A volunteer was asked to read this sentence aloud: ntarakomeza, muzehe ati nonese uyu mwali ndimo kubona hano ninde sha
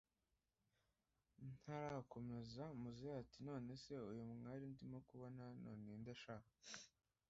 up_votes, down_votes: 1, 2